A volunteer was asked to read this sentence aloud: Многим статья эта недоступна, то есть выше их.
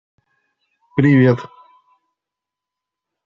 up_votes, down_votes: 0, 2